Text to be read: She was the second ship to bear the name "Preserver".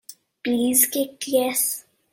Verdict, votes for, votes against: rejected, 0, 2